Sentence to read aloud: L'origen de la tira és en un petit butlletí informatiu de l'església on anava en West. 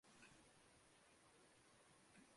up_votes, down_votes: 0, 2